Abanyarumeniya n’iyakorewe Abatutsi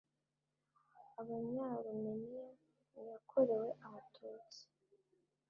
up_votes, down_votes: 1, 2